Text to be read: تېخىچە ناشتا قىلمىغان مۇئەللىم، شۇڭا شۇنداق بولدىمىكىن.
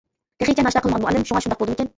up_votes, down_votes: 0, 2